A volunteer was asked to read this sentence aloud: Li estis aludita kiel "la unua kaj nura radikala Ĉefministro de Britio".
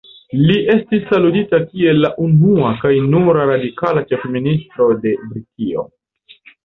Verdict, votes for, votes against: rejected, 1, 2